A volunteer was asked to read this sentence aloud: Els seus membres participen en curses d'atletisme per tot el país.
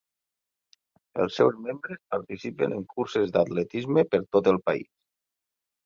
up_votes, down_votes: 0, 2